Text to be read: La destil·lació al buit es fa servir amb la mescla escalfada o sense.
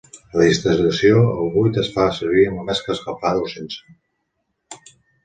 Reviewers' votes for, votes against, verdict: 1, 2, rejected